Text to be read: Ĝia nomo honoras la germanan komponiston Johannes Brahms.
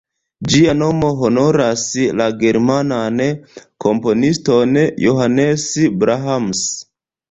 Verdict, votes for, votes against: rejected, 0, 2